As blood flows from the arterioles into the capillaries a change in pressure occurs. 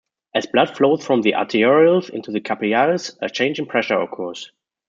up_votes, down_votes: 0, 2